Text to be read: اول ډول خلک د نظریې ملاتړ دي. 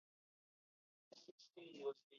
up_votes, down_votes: 2, 3